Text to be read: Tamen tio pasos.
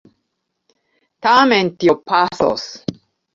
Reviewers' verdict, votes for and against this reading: accepted, 2, 0